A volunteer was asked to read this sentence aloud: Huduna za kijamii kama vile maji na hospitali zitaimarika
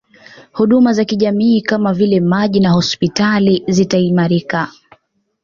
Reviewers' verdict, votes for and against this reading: accepted, 2, 0